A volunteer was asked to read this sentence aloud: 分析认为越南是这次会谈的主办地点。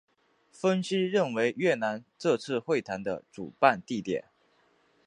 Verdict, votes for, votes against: rejected, 1, 5